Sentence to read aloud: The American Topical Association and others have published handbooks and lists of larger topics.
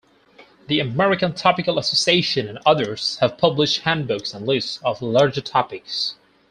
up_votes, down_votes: 4, 0